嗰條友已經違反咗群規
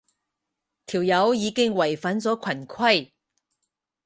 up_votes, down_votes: 0, 4